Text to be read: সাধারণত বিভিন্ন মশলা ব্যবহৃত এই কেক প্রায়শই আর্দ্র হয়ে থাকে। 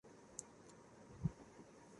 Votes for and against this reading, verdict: 0, 2, rejected